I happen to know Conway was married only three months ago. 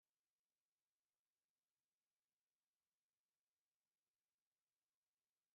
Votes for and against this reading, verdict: 0, 2, rejected